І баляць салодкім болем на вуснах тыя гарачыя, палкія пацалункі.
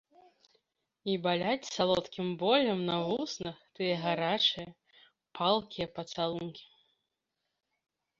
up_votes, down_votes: 2, 0